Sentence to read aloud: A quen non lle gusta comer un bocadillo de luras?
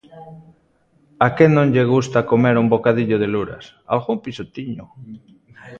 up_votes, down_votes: 0, 2